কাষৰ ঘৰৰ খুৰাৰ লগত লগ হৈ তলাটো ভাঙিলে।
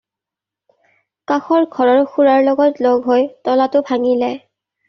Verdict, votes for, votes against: accepted, 2, 0